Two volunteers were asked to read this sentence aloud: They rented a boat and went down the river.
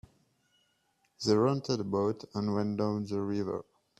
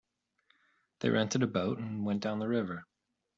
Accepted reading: second